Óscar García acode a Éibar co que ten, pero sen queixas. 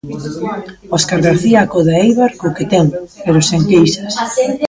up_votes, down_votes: 0, 2